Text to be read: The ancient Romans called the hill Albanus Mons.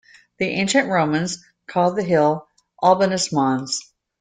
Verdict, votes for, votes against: accepted, 2, 0